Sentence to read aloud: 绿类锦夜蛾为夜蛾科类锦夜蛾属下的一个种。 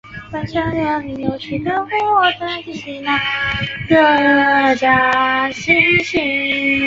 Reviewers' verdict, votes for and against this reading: rejected, 0, 2